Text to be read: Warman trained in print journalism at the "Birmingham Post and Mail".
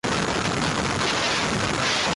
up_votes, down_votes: 0, 2